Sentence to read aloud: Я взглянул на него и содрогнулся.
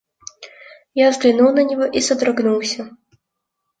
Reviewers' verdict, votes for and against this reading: rejected, 1, 2